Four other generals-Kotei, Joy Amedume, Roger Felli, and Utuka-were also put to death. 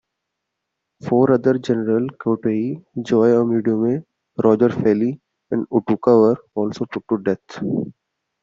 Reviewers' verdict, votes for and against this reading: rejected, 0, 2